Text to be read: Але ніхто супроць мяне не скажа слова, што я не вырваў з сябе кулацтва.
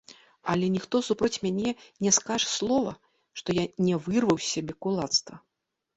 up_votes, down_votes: 1, 2